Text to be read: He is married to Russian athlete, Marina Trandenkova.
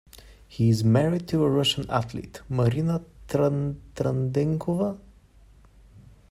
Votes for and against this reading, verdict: 1, 2, rejected